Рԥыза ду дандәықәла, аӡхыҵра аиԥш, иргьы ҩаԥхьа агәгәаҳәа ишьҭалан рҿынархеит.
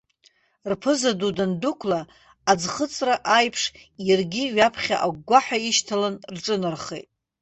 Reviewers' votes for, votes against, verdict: 0, 2, rejected